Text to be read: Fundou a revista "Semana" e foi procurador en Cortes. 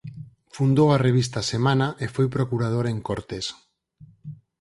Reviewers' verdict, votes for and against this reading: accepted, 4, 0